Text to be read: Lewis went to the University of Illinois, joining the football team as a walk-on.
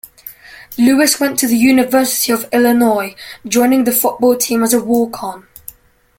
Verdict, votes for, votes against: accepted, 2, 0